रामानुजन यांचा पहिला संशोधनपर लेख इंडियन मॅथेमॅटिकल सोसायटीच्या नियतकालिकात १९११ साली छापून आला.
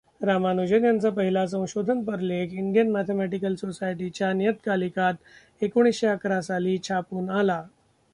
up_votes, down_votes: 0, 2